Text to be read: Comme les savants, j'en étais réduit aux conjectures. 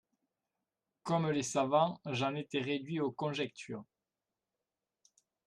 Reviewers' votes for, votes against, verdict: 2, 0, accepted